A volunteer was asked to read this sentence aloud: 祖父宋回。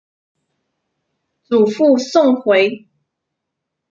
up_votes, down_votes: 2, 0